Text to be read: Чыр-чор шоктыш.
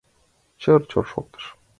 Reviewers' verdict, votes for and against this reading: accepted, 2, 0